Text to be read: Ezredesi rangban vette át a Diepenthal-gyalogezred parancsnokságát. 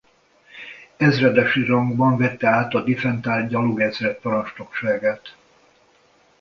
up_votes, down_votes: 1, 2